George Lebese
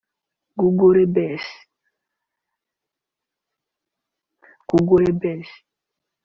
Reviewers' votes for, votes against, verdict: 0, 2, rejected